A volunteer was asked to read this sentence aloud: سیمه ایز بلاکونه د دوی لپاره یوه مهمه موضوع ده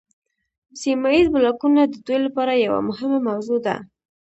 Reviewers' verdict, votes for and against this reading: accepted, 2, 0